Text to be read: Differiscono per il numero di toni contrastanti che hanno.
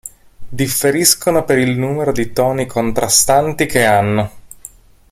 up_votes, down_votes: 0, 2